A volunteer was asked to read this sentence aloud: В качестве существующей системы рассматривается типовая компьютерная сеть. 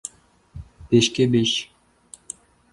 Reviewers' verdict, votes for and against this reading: rejected, 0, 2